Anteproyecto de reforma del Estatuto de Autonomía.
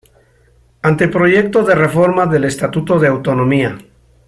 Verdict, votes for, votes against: accepted, 2, 0